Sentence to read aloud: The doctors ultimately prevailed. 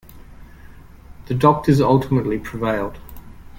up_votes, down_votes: 2, 0